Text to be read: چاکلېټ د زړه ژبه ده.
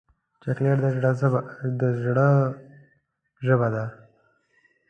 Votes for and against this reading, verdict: 1, 2, rejected